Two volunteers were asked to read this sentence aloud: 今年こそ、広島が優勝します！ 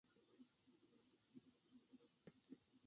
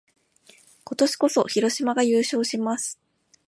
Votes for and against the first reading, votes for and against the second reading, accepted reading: 1, 2, 2, 0, second